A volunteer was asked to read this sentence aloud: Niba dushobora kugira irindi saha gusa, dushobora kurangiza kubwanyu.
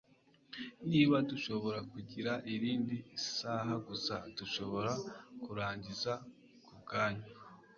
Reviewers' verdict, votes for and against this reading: accepted, 2, 0